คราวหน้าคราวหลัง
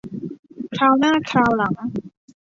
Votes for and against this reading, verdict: 2, 0, accepted